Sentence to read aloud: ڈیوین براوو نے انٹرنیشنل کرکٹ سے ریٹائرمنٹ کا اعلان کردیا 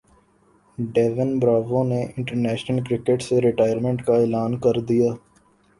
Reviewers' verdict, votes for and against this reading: rejected, 0, 2